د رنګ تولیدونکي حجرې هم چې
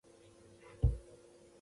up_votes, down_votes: 0, 2